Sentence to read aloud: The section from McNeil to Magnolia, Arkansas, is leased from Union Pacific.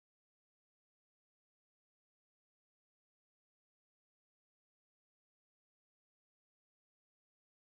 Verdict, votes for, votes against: rejected, 0, 2